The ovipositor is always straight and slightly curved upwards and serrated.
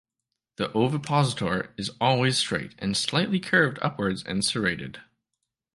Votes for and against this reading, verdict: 2, 0, accepted